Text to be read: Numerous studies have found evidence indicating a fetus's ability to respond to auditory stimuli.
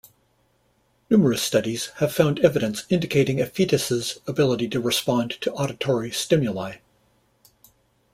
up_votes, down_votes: 2, 0